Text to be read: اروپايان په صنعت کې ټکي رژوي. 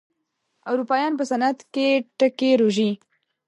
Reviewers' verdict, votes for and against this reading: rejected, 1, 2